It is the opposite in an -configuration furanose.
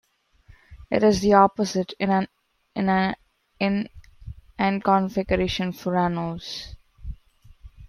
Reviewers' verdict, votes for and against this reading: rejected, 0, 2